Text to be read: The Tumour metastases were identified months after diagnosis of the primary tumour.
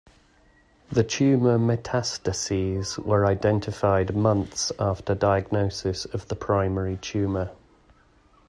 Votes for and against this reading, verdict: 2, 0, accepted